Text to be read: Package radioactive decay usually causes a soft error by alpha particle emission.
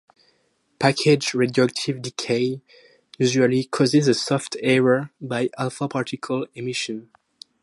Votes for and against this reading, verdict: 2, 2, rejected